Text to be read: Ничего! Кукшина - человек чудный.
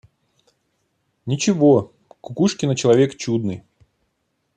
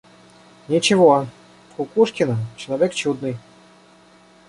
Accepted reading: first